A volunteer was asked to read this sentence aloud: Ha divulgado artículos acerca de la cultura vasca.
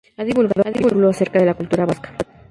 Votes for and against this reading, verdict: 0, 2, rejected